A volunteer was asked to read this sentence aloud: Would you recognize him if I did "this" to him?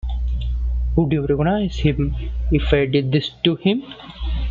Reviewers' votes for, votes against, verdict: 2, 0, accepted